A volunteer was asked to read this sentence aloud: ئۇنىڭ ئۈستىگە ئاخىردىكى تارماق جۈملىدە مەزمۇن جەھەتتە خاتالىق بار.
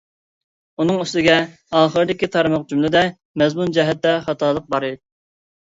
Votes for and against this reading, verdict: 0, 2, rejected